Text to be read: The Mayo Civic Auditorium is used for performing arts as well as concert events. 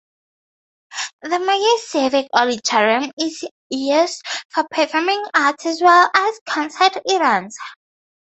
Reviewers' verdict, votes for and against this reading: rejected, 2, 2